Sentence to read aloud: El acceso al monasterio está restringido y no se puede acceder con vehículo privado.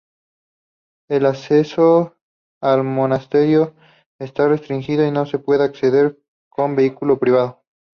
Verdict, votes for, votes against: accepted, 2, 0